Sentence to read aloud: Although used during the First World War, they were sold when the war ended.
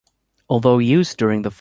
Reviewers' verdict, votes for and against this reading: accepted, 2, 0